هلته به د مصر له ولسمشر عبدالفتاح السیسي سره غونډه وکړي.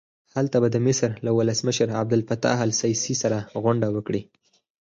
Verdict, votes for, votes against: accepted, 4, 0